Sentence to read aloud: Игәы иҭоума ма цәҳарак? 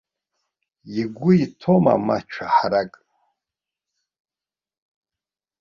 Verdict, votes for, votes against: rejected, 1, 2